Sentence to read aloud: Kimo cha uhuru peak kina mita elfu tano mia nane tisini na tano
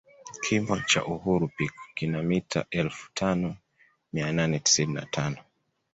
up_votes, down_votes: 2, 0